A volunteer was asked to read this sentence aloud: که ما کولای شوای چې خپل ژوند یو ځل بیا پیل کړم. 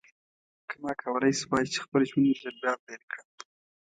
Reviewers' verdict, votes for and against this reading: accepted, 2, 0